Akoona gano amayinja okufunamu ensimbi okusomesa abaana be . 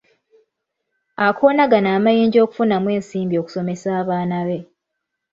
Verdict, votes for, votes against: rejected, 1, 2